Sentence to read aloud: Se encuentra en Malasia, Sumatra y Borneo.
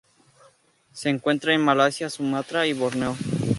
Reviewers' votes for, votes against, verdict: 2, 0, accepted